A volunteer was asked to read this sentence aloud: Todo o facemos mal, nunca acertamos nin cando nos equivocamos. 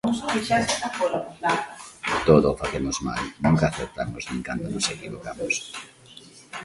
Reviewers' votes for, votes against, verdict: 0, 2, rejected